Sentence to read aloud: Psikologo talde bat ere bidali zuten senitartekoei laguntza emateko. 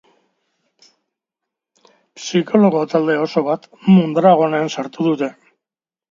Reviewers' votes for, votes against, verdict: 1, 3, rejected